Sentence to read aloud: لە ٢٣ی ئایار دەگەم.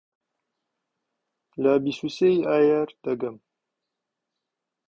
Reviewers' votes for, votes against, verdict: 0, 2, rejected